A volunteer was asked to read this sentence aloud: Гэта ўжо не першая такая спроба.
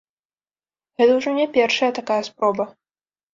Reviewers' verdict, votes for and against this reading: rejected, 0, 2